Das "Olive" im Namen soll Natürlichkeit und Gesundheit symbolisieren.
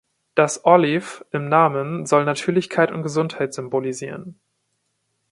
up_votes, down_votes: 2, 0